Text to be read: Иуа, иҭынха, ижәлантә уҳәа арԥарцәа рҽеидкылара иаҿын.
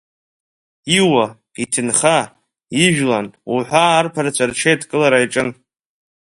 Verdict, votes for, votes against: accepted, 2, 0